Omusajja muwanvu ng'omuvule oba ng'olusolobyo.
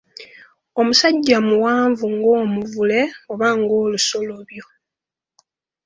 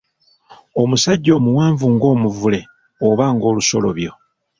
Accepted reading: first